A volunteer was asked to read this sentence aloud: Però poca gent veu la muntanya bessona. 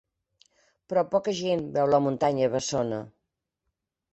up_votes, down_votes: 2, 0